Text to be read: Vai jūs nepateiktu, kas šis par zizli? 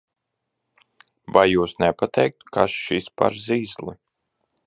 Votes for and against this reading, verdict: 2, 0, accepted